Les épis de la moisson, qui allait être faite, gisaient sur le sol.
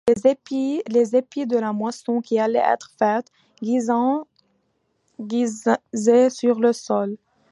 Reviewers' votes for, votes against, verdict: 0, 2, rejected